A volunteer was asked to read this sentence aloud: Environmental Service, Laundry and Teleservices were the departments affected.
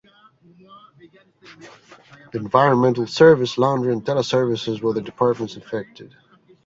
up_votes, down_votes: 2, 0